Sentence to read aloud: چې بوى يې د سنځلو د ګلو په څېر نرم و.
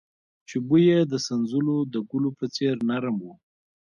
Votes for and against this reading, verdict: 2, 1, accepted